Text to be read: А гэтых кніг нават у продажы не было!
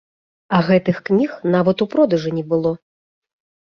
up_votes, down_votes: 3, 0